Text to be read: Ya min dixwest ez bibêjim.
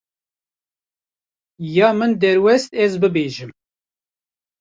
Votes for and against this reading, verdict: 0, 2, rejected